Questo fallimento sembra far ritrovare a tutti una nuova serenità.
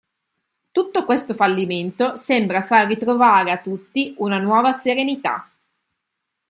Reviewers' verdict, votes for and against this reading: rejected, 3, 5